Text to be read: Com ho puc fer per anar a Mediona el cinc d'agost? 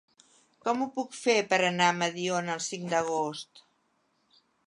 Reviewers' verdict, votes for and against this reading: accepted, 3, 0